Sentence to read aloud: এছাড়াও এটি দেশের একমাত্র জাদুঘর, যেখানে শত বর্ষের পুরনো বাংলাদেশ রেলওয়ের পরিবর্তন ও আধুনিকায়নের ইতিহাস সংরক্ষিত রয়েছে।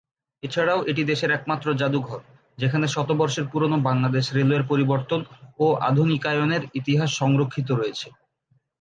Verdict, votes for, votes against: accepted, 3, 1